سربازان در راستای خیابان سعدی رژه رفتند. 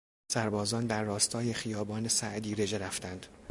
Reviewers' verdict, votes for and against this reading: accepted, 2, 0